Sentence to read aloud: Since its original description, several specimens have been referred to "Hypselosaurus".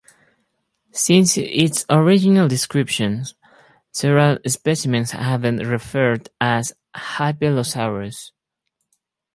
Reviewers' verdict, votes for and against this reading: rejected, 0, 4